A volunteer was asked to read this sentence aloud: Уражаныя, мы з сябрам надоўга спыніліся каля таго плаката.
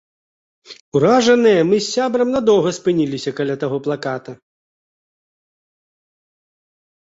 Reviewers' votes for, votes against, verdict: 2, 0, accepted